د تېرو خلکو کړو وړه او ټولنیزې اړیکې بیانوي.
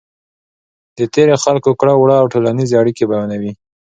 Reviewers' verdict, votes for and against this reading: accepted, 2, 0